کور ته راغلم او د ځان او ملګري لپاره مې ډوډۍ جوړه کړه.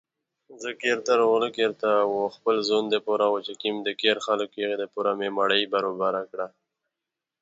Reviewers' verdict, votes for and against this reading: rejected, 1, 2